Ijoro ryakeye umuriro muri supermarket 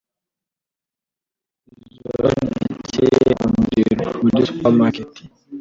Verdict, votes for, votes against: rejected, 1, 2